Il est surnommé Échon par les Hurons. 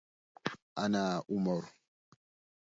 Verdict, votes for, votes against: rejected, 0, 2